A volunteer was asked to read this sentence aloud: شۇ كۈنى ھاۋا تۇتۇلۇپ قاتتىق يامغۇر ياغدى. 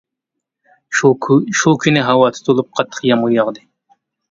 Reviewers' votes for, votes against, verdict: 0, 2, rejected